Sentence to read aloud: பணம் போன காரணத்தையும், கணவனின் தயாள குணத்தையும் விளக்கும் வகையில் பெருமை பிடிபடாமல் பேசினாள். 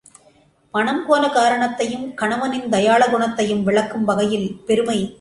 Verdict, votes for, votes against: rejected, 0, 2